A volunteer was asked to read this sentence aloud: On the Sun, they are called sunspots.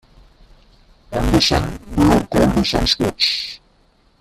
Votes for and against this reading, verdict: 0, 2, rejected